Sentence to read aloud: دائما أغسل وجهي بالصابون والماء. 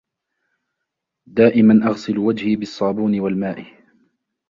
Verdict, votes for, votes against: accepted, 2, 0